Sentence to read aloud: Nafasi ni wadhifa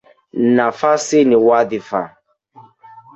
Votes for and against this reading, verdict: 2, 0, accepted